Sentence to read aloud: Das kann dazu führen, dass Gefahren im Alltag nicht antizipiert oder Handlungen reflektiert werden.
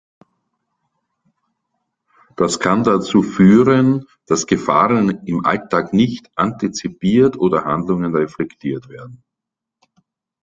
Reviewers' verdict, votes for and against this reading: accepted, 2, 0